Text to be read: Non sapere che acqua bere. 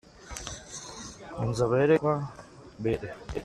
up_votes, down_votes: 0, 2